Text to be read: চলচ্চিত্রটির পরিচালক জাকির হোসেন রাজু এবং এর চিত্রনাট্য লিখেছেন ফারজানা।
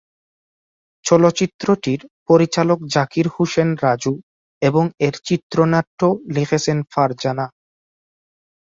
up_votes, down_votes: 0, 2